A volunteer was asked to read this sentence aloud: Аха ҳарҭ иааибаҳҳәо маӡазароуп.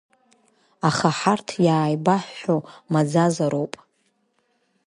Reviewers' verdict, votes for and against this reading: accepted, 2, 0